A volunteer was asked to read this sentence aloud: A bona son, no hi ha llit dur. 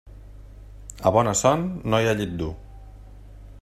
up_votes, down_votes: 2, 0